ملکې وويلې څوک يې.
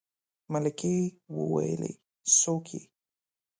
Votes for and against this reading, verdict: 2, 0, accepted